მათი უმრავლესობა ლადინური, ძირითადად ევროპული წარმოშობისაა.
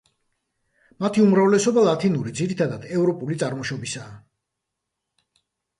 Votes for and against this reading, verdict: 0, 2, rejected